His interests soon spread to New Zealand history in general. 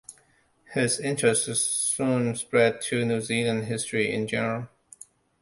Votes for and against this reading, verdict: 2, 0, accepted